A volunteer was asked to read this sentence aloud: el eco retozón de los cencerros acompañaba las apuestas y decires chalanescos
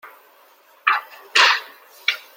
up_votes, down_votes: 0, 2